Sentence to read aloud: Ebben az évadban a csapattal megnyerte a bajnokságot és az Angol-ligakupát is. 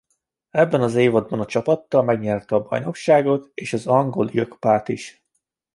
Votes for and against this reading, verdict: 1, 2, rejected